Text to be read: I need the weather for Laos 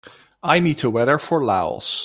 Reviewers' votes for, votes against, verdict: 0, 2, rejected